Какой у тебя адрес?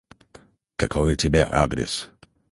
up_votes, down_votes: 2, 2